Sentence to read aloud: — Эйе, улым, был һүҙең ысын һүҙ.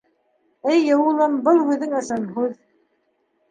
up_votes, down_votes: 2, 0